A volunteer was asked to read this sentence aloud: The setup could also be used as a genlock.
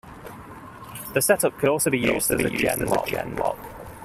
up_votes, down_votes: 1, 2